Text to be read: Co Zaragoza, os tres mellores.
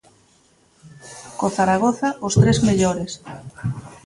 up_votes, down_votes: 1, 2